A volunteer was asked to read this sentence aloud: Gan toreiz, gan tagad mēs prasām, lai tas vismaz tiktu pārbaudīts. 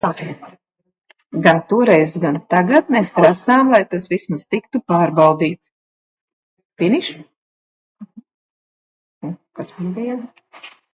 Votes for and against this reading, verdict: 0, 2, rejected